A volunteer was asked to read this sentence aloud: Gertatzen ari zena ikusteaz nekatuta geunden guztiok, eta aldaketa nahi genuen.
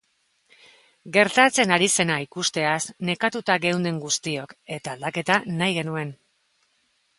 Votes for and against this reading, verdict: 2, 0, accepted